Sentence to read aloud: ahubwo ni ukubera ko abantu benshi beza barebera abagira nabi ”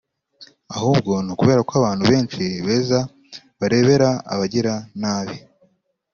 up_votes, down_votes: 3, 0